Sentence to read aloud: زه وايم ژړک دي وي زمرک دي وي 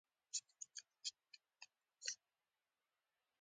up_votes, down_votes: 2, 0